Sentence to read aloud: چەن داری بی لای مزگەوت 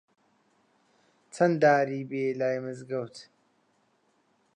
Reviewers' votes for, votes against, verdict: 2, 0, accepted